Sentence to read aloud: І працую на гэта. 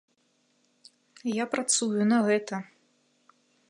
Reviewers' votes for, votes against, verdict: 0, 2, rejected